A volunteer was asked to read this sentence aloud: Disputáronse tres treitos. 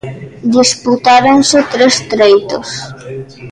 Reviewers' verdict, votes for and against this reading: rejected, 1, 2